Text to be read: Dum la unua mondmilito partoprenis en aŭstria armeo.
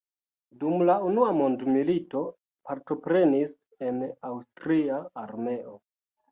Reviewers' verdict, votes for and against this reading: accepted, 2, 0